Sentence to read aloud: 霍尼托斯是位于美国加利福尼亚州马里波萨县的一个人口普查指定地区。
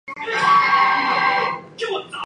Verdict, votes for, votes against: rejected, 0, 4